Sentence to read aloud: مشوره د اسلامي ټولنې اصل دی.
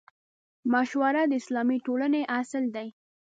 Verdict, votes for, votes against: accepted, 2, 0